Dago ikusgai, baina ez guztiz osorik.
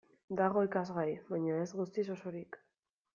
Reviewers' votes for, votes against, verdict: 1, 2, rejected